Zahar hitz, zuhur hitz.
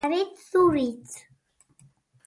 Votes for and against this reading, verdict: 0, 2, rejected